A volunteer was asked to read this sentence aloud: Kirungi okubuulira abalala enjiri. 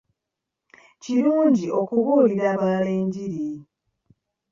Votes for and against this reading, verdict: 1, 2, rejected